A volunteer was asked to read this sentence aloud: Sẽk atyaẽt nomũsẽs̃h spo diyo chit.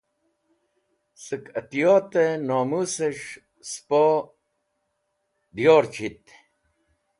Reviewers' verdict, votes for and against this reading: rejected, 1, 2